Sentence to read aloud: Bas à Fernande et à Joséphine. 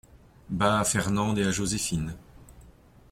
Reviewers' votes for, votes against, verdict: 2, 0, accepted